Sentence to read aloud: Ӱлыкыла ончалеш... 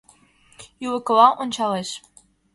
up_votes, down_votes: 2, 0